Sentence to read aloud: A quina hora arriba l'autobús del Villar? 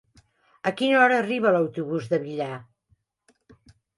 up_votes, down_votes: 1, 2